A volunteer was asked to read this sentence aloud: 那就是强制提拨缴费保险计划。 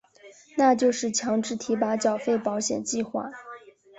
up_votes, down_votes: 3, 1